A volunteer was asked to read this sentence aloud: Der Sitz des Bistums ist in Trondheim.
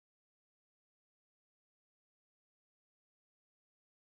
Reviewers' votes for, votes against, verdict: 0, 4, rejected